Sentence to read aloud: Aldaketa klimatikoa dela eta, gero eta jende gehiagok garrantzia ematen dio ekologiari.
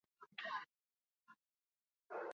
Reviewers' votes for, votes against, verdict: 0, 4, rejected